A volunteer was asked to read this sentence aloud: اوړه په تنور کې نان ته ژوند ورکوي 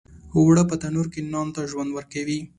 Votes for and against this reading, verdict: 2, 0, accepted